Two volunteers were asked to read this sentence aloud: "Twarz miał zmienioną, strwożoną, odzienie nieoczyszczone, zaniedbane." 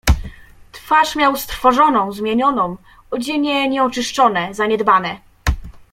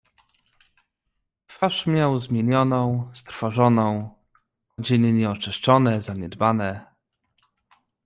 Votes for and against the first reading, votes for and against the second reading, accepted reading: 0, 2, 2, 0, second